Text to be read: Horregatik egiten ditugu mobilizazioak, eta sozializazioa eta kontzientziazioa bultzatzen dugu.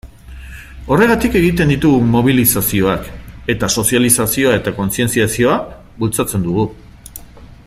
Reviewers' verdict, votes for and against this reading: accepted, 3, 0